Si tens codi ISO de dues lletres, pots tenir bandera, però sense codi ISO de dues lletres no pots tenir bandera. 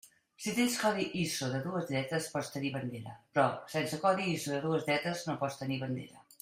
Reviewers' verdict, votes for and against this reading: accepted, 2, 0